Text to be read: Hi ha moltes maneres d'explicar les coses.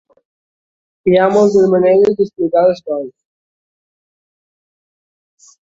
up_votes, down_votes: 1, 2